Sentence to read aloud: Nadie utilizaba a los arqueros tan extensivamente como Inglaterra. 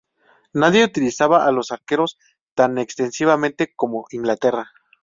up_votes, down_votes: 4, 0